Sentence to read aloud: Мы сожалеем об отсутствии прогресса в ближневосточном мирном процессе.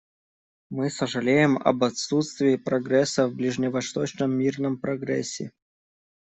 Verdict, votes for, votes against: rejected, 1, 2